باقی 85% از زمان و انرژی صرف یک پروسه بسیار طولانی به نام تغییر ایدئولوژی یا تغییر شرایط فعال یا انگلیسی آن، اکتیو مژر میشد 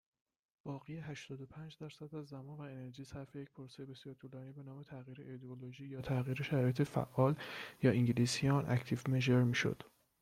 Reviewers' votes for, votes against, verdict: 0, 2, rejected